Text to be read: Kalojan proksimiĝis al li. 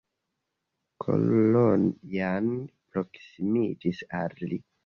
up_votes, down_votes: 2, 0